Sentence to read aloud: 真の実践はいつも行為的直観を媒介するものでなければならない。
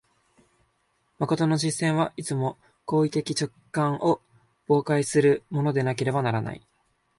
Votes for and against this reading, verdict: 0, 2, rejected